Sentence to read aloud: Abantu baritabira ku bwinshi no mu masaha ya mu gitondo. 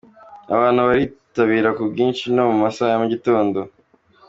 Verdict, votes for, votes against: accepted, 2, 0